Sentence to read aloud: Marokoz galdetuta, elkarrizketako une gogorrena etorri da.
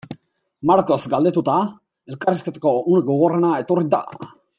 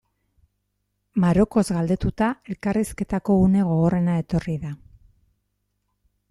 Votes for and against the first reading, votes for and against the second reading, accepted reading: 2, 3, 2, 0, second